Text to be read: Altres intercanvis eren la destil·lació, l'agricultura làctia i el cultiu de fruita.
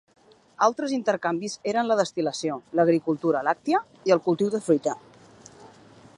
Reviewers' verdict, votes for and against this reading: accepted, 3, 0